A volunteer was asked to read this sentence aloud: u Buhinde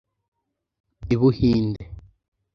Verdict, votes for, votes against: rejected, 0, 2